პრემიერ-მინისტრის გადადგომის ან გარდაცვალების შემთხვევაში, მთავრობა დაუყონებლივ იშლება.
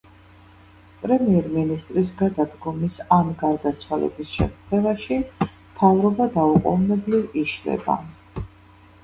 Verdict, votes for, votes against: rejected, 0, 2